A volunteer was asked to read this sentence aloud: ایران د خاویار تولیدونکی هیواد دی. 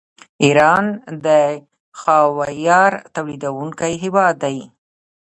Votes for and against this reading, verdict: 1, 2, rejected